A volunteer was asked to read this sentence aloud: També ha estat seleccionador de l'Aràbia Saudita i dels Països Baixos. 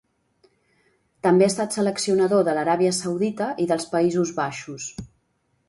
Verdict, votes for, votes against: accepted, 2, 0